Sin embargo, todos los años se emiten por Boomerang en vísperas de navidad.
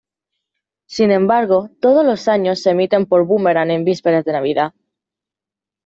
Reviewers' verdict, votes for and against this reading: accepted, 2, 0